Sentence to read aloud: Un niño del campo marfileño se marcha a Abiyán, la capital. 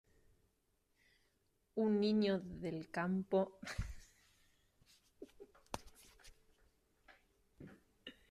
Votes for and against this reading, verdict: 0, 2, rejected